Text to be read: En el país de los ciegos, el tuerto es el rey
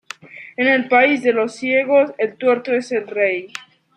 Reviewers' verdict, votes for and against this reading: accepted, 2, 1